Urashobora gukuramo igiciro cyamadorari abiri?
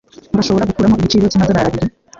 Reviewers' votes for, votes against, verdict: 2, 1, accepted